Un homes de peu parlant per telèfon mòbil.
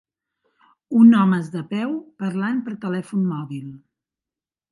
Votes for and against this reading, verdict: 2, 0, accepted